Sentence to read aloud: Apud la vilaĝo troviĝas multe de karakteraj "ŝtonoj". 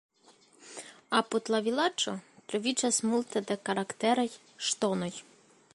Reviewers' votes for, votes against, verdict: 2, 1, accepted